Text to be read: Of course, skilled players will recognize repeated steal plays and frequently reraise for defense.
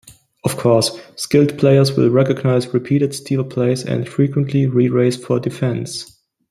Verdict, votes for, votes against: rejected, 1, 2